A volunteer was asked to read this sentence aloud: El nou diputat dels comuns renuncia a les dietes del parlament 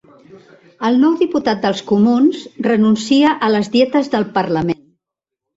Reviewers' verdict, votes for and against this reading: accepted, 2, 1